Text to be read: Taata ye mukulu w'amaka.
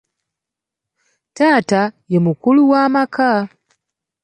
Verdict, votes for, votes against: accepted, 2, 0